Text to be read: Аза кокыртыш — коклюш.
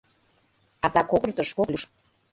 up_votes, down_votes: 0, 2